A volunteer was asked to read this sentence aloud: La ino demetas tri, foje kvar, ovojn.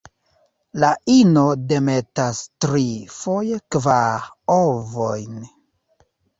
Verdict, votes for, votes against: accepted, 2, 1